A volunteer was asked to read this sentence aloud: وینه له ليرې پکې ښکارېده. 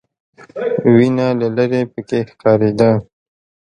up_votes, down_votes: 0, 2